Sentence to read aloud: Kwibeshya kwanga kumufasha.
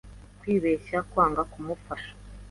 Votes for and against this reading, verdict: 2, 0, accepted